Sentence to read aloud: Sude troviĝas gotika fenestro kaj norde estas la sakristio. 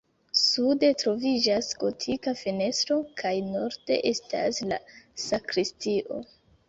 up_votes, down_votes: 2, 0